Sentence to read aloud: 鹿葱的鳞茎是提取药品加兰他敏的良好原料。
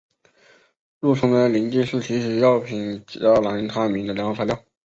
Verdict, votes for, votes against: rejected, 0, 2